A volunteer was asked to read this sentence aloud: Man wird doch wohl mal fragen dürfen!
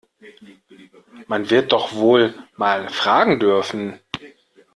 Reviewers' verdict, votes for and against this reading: accepted, 2, 0